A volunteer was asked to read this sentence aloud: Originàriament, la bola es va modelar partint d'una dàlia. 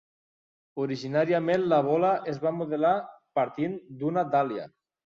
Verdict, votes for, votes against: accepted, 3, 0